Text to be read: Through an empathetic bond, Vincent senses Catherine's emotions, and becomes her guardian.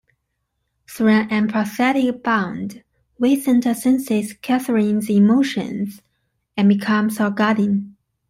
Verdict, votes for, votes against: rejected, 1, 2